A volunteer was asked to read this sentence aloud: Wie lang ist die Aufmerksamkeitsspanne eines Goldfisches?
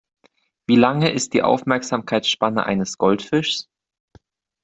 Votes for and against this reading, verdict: 1, 2, rejected